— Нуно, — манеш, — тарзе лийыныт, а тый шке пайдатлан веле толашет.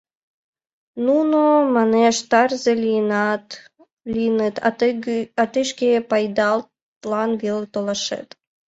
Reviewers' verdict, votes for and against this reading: rejected, 1, 2